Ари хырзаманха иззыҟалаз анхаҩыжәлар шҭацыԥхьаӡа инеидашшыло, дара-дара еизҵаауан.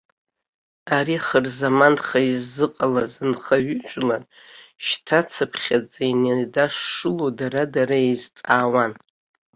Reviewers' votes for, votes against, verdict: 0, 2, rejected